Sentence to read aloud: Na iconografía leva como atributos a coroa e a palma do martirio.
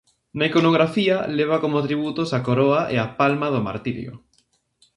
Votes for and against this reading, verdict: 2, 0, accepted